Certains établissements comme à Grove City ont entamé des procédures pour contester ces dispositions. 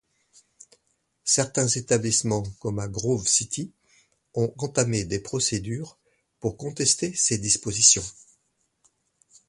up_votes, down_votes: 2, 0